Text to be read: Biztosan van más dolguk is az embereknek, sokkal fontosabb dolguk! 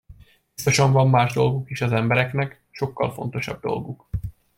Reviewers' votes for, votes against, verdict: 0, 2, rejected